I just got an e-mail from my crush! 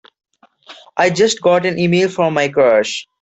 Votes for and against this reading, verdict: 1, 2, rejected